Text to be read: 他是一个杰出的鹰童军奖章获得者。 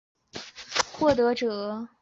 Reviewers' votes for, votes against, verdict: 0, 2, rejected